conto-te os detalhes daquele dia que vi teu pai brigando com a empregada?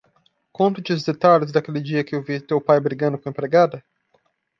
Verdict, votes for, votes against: rejected, 1, 2